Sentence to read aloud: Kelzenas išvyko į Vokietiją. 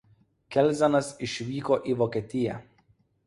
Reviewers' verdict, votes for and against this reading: accepted, 2, 0